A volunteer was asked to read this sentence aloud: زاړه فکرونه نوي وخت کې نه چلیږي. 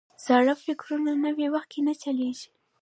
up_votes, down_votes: 2, 0